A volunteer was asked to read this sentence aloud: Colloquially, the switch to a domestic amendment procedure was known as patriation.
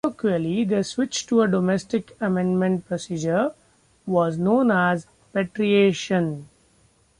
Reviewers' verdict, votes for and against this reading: rejected, 1, 2